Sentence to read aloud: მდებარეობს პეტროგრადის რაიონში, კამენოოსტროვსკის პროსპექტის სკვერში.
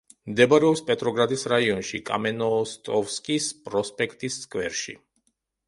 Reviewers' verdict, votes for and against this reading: rejected, 0, 2